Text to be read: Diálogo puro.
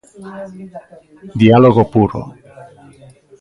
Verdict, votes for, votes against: rejected, 1, 2